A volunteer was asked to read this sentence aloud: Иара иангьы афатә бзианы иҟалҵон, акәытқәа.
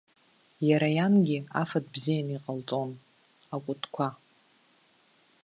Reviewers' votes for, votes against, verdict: 2, 0, accepted